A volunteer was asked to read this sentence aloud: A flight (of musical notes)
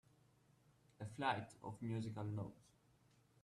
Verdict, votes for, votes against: accepted, 2, 0